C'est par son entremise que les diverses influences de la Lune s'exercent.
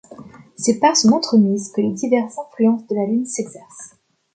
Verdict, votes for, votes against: rejected, 1, 2